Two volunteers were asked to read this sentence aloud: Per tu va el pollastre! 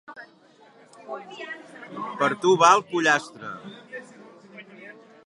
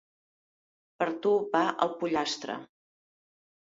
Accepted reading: second